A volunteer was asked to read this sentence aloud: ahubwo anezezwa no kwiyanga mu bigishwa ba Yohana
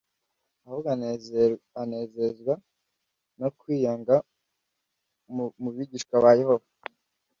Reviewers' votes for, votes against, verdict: 1, 2, rejected